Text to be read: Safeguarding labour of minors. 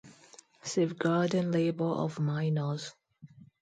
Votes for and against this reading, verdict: 2, 0, accepted